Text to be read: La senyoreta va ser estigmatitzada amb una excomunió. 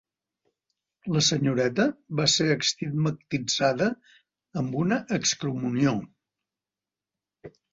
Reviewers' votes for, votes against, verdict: 1, 2, rejected